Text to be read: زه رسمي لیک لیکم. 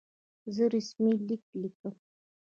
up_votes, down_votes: 2, 0